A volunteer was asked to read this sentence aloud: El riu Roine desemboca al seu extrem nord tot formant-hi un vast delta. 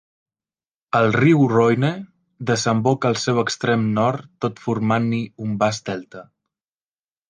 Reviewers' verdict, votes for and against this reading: rejected, 1, 2